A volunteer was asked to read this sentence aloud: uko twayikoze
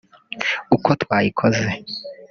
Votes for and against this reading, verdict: 0, 2, rejected